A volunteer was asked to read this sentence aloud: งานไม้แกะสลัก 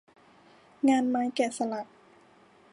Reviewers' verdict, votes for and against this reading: accepted, 2, 0